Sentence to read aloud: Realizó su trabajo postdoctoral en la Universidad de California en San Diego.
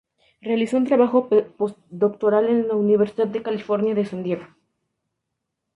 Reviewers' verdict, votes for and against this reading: rejected, 0, 2